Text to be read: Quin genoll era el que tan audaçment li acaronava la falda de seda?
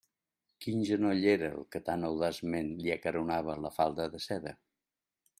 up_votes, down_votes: 2, 0